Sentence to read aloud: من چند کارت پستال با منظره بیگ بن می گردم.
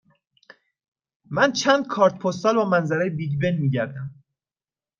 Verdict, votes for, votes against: accepted, 2, 0